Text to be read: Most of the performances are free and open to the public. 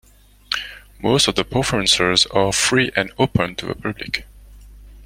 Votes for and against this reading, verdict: 1, 2, rejected